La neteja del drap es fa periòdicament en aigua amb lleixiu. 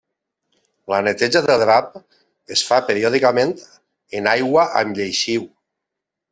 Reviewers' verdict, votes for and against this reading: accepted, 2, 0